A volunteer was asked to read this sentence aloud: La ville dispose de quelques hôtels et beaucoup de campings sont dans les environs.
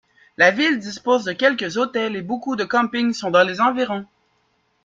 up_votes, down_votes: 2, 0